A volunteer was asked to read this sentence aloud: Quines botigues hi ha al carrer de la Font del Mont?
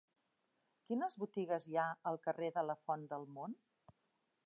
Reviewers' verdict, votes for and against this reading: accepted, 3, 0